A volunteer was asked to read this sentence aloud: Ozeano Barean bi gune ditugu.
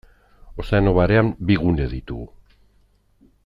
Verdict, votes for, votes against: accepted, 2, 0